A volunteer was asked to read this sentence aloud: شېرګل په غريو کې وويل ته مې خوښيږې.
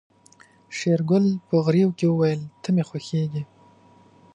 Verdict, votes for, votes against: accepted, 7, 0